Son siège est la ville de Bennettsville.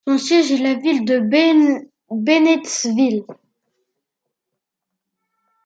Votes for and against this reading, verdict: 0, 2, rejected